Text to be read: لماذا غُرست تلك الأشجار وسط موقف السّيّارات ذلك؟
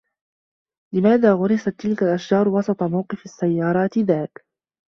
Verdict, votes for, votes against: accepted, 2, 0